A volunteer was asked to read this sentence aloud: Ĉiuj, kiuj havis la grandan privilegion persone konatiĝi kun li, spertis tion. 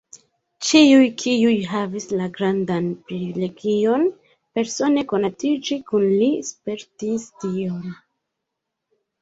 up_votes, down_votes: 1, 2